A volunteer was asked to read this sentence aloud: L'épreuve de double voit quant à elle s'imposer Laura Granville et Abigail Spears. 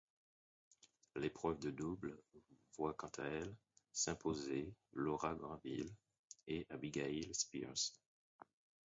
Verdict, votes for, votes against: rejected, 2, 4